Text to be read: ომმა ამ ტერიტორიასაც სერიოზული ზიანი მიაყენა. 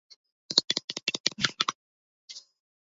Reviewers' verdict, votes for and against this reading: rejected, 0, 2